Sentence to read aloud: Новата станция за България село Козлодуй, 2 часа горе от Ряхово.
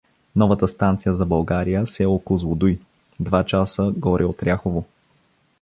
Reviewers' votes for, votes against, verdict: 0, 2, rejected